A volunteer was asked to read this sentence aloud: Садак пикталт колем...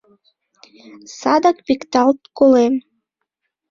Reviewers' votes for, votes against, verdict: 2, 0, accepted